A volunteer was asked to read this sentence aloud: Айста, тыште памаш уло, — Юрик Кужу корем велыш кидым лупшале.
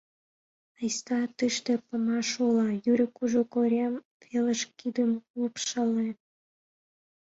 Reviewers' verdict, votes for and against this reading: accepted, 2, 0